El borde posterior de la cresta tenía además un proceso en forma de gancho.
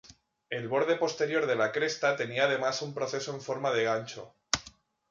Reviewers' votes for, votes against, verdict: 2, 0, accepted